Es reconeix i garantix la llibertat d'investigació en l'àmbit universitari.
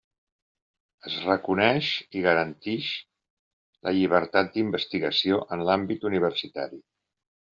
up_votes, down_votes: 0, 2